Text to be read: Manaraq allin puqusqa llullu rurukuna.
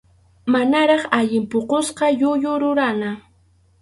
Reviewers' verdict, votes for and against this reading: rejected, 2, 2